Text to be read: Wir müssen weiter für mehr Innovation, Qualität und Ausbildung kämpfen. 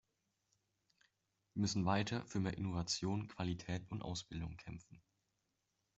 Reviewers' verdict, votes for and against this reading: accepted, 2, 0